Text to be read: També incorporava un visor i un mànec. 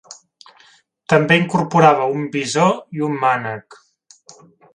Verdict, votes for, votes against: accepted, 3, 0